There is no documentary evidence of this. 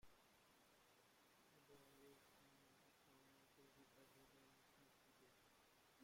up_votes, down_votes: 0, 2